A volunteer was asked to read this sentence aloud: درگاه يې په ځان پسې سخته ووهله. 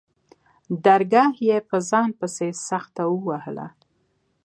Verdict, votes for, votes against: accepted, 2, 0